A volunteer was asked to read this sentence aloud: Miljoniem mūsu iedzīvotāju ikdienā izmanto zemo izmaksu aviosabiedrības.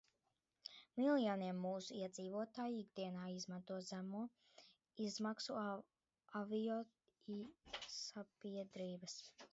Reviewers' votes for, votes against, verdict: 0, 2, rejected